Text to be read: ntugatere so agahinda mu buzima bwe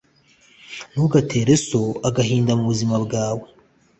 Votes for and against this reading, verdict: 1, 2, rejected